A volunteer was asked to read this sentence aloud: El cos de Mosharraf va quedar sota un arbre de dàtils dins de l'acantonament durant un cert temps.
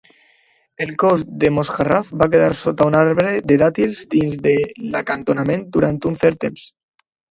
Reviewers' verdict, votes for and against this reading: accepted, 2, 0